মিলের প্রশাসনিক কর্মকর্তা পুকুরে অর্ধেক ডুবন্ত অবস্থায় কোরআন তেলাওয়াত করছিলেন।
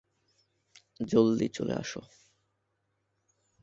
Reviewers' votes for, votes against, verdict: 1, 22, rejected